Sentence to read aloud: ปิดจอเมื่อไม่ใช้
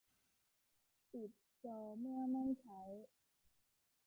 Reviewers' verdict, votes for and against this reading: rejected, 0, 2